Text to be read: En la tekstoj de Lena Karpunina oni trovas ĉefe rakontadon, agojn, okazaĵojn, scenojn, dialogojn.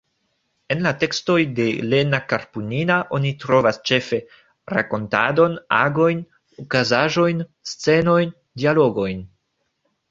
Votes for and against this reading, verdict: 0, 2, rejected